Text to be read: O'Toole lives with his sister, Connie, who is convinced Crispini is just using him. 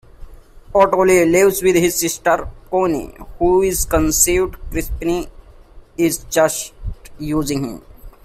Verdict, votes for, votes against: rejected, 0, 2